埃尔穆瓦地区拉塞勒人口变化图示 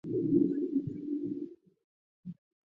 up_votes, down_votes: 0, 3